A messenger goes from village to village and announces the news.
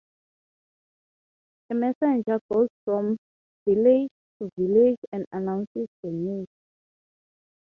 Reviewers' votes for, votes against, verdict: 3, 3, rejected